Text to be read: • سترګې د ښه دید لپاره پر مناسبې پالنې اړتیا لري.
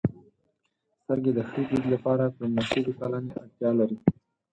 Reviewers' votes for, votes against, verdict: 0, 4, rejected